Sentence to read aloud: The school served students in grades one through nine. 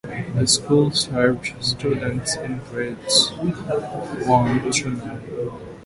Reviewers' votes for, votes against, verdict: 2, 0, accepted